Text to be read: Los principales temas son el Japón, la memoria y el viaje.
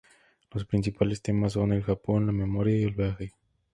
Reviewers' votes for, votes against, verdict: 4, 0, accepted